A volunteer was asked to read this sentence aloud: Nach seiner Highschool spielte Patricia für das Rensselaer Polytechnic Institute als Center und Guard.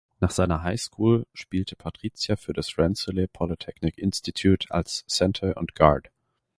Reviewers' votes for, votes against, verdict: 2, 0, accepted